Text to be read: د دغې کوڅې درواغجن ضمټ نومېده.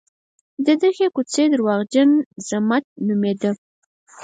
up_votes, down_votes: 2, 4